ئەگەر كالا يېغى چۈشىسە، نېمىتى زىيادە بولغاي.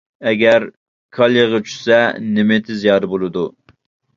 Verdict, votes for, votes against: rejected, 0, 2